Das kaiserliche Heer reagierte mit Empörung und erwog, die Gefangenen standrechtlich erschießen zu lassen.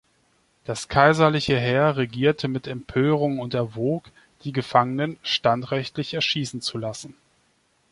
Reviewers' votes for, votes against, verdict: 0, 2, rejected